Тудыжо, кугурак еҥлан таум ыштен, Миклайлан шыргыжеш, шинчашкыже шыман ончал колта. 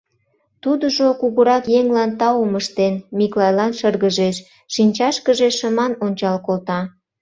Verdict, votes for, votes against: accepted, 2, 0